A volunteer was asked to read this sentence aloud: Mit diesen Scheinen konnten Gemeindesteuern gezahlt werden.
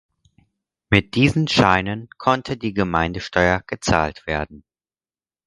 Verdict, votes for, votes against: rejected, 0, 4